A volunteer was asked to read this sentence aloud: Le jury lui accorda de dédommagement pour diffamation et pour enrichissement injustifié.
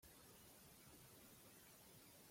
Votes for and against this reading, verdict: 0, 2, rejected